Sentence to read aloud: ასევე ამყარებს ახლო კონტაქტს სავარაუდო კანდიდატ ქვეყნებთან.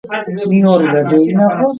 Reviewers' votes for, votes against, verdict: 1, 2, rejected